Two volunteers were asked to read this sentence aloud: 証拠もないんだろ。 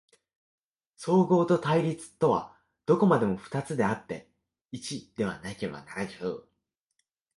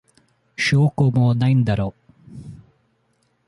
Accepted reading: second